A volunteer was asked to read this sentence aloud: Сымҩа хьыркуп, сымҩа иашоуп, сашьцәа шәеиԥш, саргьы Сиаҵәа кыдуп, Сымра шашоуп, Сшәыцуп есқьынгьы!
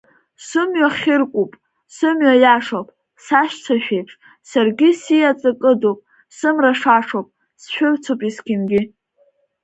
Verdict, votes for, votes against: rejected, 1, 2